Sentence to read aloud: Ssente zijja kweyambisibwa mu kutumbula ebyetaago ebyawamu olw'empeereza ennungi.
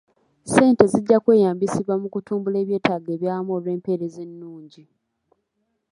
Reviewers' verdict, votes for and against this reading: rejected, 1, 2